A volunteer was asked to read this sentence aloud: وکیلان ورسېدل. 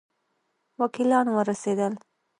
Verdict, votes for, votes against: accepted, 2, 0